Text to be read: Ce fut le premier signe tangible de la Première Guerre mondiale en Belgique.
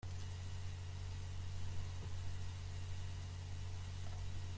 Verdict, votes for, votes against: rejected, 0, 2